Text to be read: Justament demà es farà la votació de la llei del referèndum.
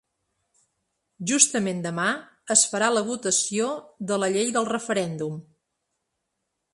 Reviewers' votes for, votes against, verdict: 6, 0, accepted